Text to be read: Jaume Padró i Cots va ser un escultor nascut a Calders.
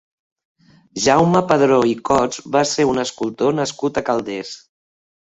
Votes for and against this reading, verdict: 2, 0, accepted